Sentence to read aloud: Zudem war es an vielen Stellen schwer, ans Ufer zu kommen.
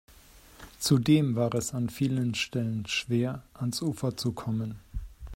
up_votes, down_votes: 2, 0